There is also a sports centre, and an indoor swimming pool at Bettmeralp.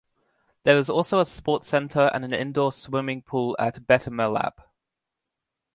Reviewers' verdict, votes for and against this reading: rejected, 0, 2